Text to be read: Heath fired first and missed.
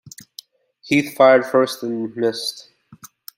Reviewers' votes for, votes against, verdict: 2, 0, accepted